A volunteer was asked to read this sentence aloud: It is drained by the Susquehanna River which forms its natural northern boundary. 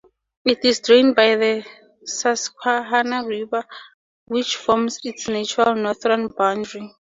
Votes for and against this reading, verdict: 4, 0, accepted